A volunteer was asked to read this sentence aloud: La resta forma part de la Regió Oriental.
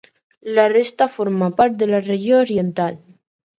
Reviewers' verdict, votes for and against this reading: accepted, 4, 0